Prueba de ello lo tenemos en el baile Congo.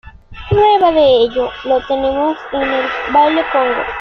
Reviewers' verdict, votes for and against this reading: accepted, 2, 1